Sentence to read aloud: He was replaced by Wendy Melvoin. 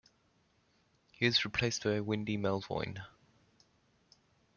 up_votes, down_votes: 1, 2